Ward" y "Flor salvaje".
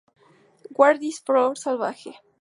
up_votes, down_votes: 0, 2